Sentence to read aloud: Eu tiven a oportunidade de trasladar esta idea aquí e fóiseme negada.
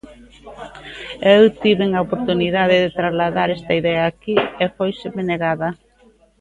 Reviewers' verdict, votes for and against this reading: rejected, 0, 2